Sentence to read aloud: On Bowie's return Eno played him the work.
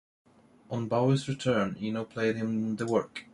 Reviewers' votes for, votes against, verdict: 1, 2, rejected